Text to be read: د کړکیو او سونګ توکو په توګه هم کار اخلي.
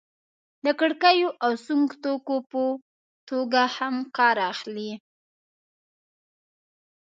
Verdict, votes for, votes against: rejected, 0, 2